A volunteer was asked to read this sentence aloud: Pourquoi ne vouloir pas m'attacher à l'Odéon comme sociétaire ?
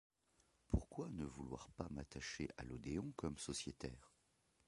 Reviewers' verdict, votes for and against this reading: rejected, 0, 2